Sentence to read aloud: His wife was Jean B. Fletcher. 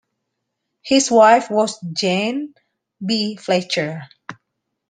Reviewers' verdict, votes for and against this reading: rejected, 0, 2